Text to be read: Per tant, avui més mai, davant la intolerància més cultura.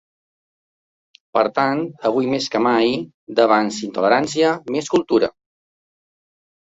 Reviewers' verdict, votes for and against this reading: rejected, 1, 2